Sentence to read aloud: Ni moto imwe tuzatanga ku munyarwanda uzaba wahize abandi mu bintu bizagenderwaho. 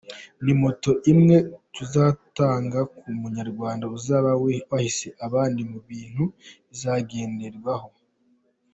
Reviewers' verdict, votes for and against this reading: rejected, 2, 4